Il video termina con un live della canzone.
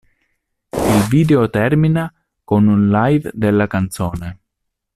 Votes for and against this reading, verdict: 2, 0, accepted